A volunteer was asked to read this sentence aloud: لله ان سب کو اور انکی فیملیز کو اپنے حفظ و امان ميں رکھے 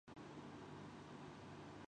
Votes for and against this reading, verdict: 0, 3, rejected